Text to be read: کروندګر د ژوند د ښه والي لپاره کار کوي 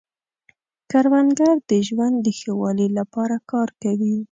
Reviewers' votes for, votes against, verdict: 2, 0, accepted